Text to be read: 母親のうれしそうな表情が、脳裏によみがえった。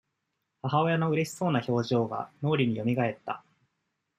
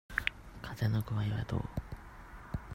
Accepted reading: first